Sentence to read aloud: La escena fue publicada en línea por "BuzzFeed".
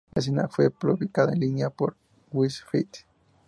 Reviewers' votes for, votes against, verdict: 0, 2, rejected